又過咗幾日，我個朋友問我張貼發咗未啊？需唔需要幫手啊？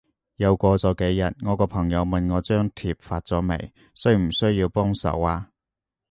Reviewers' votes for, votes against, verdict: 2, 2, rejected